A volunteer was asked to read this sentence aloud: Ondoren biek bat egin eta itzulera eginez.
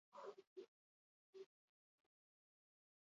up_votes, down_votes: 0, 4